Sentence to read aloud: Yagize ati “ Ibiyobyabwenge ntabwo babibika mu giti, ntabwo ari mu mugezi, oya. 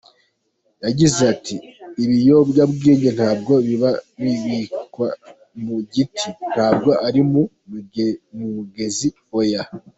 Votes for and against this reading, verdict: 1, 3, rejected